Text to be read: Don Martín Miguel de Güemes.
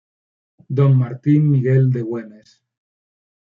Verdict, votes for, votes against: accepted, 2, 0